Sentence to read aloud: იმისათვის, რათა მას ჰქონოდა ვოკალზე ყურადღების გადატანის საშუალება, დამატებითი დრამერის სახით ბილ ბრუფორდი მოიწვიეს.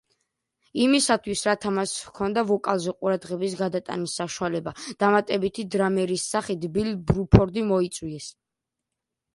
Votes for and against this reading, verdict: 2, 1, accepted